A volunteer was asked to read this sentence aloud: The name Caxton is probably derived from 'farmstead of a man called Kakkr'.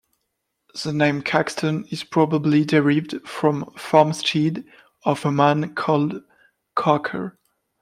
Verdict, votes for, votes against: rejected, 0, 2